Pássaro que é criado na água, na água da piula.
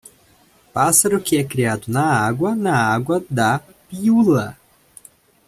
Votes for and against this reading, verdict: 2, 0, accepted